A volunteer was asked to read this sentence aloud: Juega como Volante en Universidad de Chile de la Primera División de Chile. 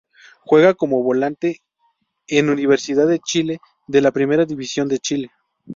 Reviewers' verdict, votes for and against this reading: accepted, 2, 0